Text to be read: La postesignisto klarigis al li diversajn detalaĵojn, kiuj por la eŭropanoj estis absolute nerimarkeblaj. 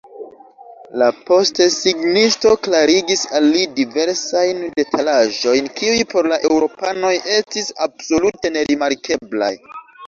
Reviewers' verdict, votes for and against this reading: rejected, 0, 2